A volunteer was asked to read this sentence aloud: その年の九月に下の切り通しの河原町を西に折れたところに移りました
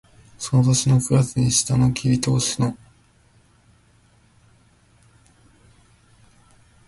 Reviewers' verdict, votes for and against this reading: rejected, 2, 3